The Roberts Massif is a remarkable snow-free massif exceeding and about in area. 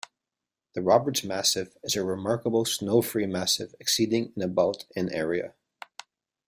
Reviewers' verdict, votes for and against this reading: accepted, 2, 1